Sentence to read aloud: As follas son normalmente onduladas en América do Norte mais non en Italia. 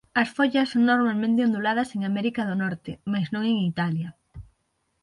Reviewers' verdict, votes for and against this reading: rejected, 3, 6